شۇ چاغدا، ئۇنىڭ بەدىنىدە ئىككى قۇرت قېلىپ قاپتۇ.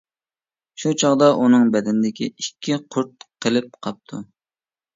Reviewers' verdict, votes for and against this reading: rejected, 0, 2